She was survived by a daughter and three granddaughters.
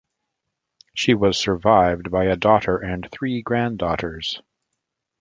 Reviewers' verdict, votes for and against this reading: accepted, 2, 0